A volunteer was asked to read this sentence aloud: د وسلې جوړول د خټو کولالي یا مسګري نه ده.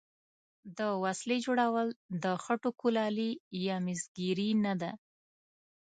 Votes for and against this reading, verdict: 2, 0, accepted